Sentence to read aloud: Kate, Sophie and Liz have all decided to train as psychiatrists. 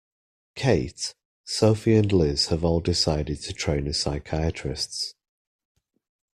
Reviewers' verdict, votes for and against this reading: accepted, 2, 0